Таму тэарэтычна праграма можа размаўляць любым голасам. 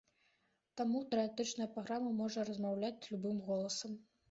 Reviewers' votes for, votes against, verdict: 2, 0, accepted